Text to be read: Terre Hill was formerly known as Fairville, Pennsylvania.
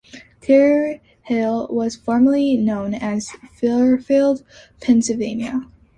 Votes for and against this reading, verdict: 2, 1, accepted